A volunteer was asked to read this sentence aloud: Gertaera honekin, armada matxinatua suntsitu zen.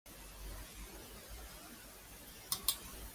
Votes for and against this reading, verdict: 0, 2, rejected